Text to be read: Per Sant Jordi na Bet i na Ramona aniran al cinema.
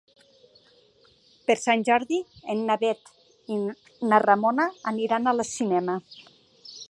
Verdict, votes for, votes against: rejected, 1, 2